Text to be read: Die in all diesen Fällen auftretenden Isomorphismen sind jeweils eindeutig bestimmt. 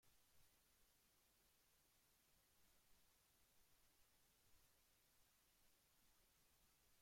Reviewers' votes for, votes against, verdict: 0, 2, rejected